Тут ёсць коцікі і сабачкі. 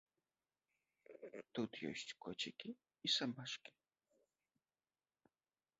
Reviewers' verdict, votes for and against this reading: rejected, 1, 2